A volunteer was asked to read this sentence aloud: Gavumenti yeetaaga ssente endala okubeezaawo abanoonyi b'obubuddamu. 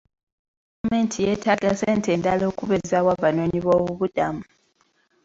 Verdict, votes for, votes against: rejected, 1, 2